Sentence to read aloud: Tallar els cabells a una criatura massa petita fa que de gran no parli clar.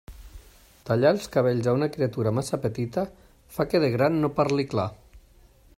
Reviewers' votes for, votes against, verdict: 3, 0, accepted